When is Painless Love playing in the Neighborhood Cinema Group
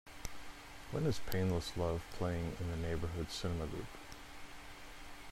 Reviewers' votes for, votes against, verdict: 2, 0, accepted